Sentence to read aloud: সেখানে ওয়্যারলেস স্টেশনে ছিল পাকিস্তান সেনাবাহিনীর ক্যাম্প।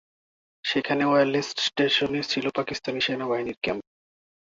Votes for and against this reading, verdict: 2, 0, accepted